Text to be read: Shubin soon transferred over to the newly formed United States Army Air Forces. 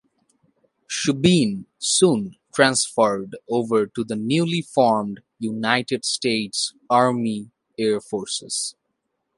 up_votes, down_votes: 1, 2